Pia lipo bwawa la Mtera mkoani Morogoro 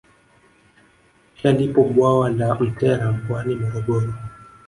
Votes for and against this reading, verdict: 1, 2, rejected